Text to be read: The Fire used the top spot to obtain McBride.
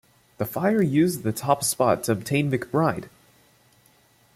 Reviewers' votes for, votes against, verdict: 2, 0, accepted